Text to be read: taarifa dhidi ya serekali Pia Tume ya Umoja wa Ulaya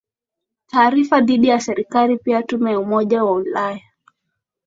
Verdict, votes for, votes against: rejected, 0, 2